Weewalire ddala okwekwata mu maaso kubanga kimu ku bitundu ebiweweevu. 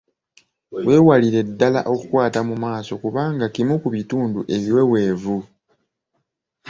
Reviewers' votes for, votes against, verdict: 0, 2, rejected